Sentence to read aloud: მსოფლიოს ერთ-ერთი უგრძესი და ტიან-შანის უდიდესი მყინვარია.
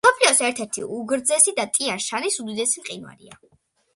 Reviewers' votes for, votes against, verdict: 2, 0, accepted